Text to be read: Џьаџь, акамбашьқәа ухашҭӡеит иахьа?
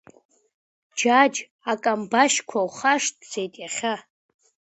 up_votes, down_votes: 2, 0